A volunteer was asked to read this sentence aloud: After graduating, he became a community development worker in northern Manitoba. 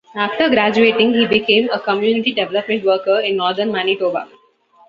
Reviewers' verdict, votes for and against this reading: accepted, 2, 0